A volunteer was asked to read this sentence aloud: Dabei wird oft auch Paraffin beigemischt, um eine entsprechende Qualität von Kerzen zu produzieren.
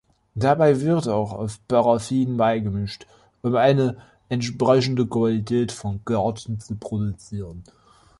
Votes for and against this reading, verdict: 1, 2, rejected